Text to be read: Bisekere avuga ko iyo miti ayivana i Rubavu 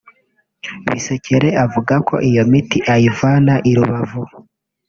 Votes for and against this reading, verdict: 1, 2, rejected